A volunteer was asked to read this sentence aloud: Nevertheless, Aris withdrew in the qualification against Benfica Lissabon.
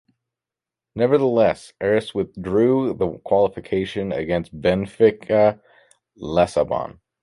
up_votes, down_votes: 2, 0